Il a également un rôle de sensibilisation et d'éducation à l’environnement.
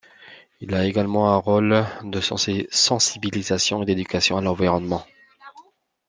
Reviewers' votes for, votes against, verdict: 1, 2, rejected